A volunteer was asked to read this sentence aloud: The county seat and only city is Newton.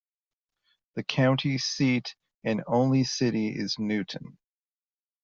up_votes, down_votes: 2, 0